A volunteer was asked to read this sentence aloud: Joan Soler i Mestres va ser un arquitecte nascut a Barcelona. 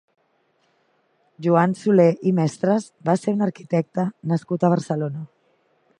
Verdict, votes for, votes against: rejected, 0, 2